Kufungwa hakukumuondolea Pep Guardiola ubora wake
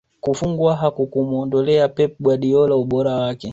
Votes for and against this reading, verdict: 2, 1, accepted